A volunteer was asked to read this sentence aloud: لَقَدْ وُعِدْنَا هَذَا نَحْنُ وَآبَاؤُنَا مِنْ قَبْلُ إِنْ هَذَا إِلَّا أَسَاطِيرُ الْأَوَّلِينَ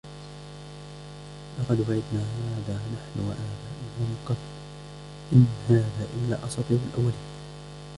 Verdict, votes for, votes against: rejected, 1, 3